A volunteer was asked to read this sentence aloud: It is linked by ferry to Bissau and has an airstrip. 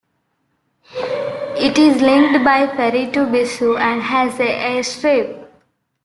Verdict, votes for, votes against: accepted, 3, 0